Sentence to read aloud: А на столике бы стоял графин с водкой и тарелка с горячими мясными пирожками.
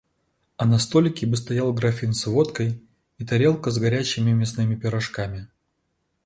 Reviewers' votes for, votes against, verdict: 2, 0, accepted